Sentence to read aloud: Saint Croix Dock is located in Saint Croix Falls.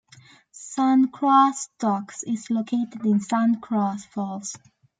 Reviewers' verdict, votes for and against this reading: rejected, 1, 2